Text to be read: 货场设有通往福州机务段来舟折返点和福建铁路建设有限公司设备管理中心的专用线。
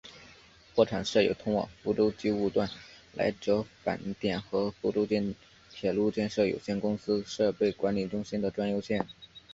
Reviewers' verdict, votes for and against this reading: accepted, 2, 0